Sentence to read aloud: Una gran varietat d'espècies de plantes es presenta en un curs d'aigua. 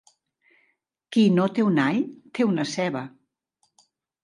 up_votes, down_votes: 0, 2